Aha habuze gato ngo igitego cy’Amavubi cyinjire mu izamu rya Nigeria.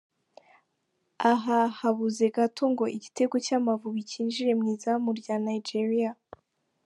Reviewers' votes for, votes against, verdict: 2, 0, accepted